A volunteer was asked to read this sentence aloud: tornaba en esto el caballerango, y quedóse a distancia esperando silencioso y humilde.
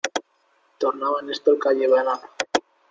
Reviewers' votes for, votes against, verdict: 0, 2, rejected